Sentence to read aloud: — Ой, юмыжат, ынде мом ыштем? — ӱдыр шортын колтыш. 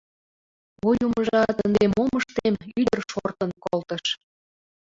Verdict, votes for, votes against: rejected, 0, 2